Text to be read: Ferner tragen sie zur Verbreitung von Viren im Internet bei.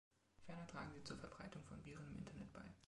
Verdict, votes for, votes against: rejected, 2, 3